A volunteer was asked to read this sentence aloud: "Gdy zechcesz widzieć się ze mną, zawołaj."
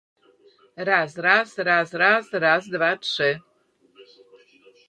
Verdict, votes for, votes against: rejected, 0, 2